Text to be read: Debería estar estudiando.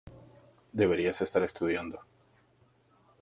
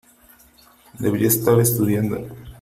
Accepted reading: second